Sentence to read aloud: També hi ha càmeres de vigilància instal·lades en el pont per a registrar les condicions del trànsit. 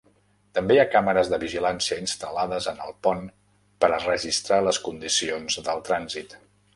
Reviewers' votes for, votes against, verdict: 3, 0, accepted